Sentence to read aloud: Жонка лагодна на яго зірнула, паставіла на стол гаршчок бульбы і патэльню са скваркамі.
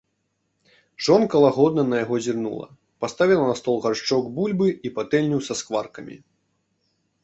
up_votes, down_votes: 2, 0